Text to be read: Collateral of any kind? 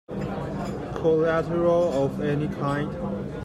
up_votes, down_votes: 3, 1